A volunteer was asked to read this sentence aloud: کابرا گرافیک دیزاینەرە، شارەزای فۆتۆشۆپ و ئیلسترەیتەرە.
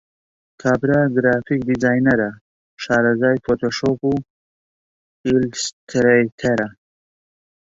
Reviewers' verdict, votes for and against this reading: rejected, 0, 2